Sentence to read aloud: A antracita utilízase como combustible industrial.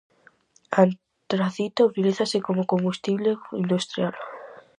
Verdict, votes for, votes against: rejected, 2, 2